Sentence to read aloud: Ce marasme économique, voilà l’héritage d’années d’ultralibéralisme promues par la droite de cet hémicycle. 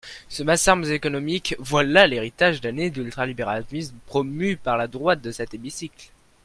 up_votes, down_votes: 0, 2